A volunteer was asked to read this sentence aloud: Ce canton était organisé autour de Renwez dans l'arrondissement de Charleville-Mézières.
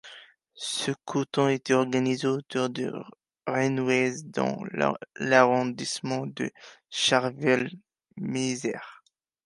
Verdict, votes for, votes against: rejected, 0, 2